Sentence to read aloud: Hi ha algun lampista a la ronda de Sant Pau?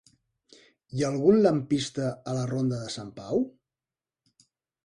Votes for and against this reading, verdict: 3, 0, accepted